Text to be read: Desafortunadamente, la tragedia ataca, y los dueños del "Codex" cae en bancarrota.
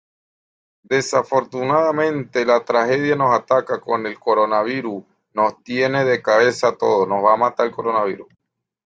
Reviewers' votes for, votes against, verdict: 0, 2, rejected